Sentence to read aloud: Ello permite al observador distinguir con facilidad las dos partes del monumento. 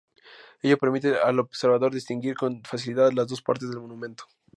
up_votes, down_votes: 2, 0